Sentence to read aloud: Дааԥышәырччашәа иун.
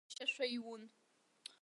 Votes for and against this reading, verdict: 0, 2, rejected